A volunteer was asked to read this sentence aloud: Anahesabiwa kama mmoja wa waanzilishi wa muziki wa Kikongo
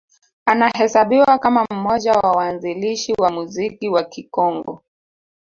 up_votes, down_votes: 2, 0